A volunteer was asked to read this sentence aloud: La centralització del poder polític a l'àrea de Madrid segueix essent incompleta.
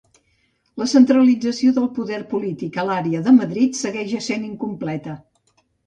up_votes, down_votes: 2, 0